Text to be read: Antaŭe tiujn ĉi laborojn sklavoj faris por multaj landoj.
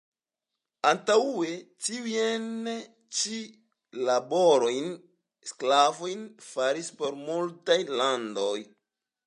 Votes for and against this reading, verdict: 2, 0, accepted